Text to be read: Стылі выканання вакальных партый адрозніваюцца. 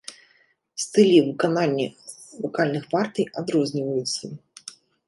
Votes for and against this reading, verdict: 1, 2, rejected